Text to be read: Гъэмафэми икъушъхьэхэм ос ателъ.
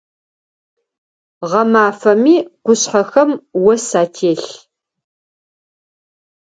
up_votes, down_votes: 0, 4